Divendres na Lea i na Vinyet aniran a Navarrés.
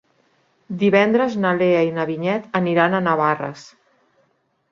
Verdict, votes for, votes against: rejected, 0, 2